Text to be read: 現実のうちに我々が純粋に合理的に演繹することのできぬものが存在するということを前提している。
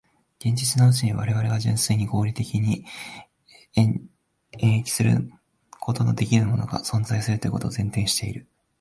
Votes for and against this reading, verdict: 0, 2, rejected